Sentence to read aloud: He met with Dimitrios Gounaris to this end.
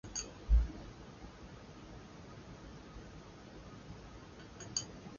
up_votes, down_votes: 0, 2